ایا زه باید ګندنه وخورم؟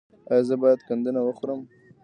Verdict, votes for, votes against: accepted, 2, 0